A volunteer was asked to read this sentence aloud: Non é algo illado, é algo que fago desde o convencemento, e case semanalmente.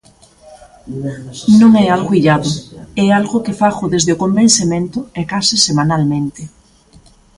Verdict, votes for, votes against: rejected, 1, 2